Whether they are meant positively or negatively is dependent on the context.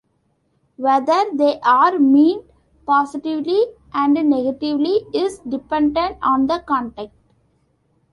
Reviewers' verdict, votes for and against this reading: rejected, 1, 3